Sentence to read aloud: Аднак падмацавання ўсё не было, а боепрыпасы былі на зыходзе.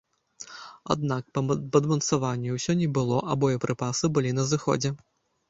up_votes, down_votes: 0, 2